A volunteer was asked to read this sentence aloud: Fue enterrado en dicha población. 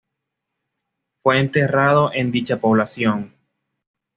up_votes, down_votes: 2, 0